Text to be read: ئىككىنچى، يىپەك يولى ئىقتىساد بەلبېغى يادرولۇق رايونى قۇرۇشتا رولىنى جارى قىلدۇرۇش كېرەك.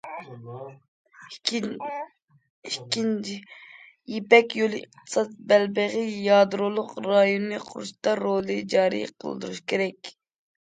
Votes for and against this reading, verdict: 0, 2, rejected